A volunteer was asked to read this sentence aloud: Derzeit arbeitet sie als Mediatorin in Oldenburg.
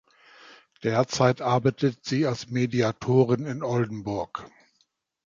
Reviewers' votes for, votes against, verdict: 2, 0, accepted